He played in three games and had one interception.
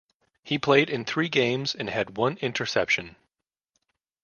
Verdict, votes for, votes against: accepted, 2, 0